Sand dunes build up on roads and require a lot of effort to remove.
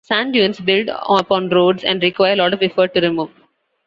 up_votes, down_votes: 2, 0